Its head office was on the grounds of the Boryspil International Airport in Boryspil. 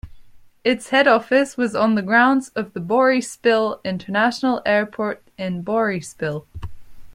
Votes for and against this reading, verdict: 2, 0, accepted